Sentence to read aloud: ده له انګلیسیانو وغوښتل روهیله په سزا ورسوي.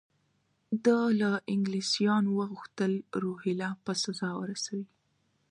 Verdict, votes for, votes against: accepted, 2, 0